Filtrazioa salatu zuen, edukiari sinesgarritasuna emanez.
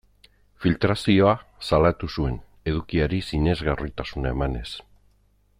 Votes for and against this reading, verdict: 2, 0, accepted